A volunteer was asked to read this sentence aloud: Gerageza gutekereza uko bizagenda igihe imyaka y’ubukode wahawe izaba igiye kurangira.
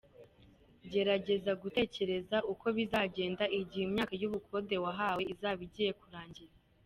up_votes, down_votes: 3, 0